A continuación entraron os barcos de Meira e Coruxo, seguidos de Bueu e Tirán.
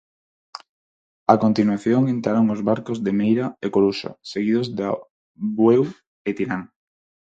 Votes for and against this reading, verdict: 0, 4, rejected